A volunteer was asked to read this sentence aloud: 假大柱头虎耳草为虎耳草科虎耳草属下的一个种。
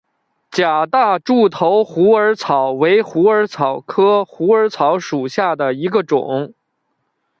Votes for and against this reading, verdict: 2, 0, accepted